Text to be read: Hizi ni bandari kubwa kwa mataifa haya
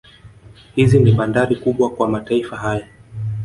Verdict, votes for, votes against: rejected, 0, 2